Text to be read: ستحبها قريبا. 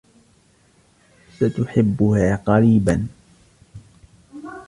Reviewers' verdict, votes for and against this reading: rejected, 1, 2